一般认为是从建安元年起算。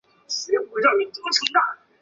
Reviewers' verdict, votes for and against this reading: rejected, 2, 5